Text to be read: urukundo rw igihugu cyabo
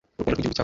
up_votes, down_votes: 1, 2